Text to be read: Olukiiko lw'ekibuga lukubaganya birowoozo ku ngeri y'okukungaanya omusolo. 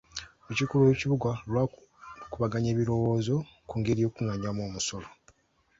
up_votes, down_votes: 1, 2